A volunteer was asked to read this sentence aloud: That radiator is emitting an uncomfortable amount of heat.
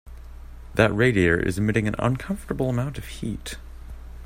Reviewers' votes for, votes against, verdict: 2, 0, accepted